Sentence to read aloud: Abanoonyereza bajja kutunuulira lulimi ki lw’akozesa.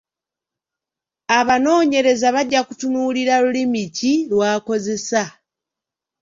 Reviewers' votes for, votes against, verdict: 2, 0, accepted